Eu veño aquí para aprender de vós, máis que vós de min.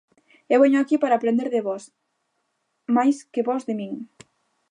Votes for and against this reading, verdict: 2, 0, accepted